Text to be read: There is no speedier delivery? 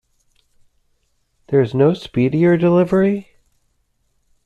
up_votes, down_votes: 2, 0